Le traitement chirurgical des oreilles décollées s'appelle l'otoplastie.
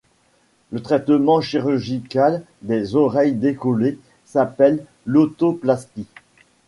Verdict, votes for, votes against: accepted, 2, 0